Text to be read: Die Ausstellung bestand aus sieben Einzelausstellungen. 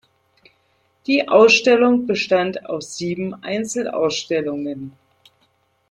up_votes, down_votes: 2, 0